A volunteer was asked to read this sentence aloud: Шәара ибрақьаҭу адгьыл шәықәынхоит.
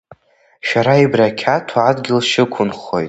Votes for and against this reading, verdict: 1, 2, rejected